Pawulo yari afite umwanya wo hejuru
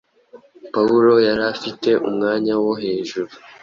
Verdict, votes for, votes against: accepted, 2, 0